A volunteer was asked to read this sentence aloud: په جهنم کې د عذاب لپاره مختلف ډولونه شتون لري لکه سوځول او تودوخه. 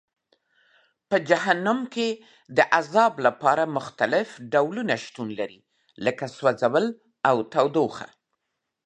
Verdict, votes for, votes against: accepted, 2, 0